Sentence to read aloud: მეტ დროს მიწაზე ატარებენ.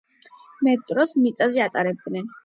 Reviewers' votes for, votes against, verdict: 0, 8, rejected